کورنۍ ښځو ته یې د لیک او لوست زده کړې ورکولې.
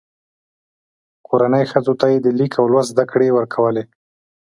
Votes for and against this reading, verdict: 2, 0, accepted